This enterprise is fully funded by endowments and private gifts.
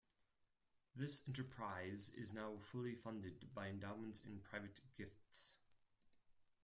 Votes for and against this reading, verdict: 2, 4, rejected